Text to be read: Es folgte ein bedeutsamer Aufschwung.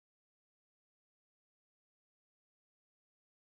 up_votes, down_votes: 0, 2